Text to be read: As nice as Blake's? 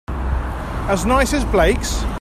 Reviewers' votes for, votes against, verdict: 3, 0, accepted